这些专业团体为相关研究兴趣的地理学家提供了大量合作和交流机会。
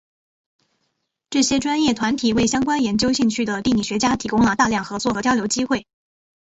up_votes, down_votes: 3, 0